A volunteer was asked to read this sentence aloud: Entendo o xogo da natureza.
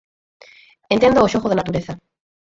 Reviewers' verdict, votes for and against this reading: rejected, 0, 4